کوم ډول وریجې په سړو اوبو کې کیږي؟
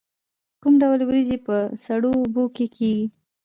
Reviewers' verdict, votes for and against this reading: accepted, 2, 0